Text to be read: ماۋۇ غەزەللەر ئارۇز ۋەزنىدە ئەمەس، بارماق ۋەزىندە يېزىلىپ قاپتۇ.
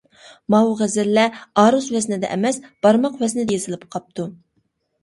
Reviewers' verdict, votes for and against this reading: rejected, 1, 2